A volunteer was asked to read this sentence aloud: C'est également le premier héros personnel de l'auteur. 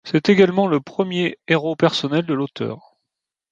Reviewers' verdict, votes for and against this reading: accepted, 2, 0